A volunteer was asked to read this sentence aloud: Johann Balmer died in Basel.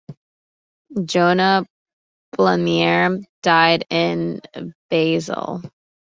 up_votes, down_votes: 0, 2